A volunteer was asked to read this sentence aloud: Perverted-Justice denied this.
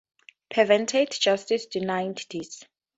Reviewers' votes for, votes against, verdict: 2, 2, rejected